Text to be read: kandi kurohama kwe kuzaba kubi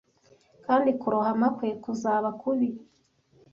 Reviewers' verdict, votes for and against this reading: accepted, 2, 0